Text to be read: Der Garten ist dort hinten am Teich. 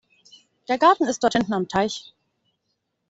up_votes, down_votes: 2, 0